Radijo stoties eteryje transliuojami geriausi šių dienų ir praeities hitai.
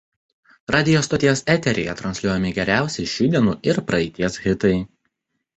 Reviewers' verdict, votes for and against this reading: accepted, 2, 0